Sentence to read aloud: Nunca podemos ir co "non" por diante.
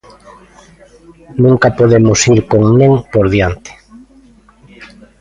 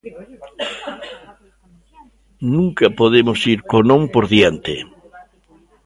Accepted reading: second